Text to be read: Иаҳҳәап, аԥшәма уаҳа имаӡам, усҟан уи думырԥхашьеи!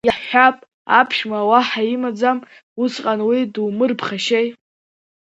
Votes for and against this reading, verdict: 2, 0, accepted